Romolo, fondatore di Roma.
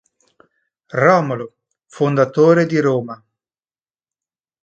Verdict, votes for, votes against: accepted, 2, 0